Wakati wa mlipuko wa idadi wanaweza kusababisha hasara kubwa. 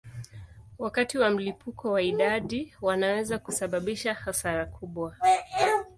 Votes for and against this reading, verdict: 2, 0, accepted